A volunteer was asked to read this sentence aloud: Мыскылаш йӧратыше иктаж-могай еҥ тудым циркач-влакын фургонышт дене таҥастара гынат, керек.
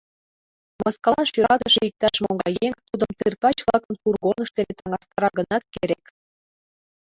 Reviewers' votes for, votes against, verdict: 0, 2, rejected